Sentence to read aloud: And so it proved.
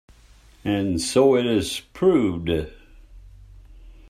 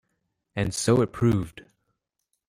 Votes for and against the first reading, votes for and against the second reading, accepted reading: 0, 2, 2, 0, second